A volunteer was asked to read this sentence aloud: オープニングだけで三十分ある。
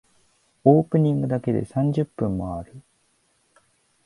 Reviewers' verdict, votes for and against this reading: rejected, 0, 2